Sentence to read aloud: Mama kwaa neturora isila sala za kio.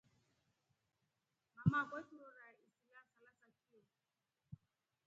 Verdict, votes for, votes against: rejected, 0, 2